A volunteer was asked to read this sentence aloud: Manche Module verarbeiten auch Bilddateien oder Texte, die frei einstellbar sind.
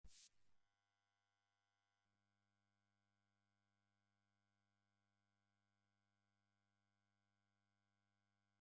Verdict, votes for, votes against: rejected, 0, 2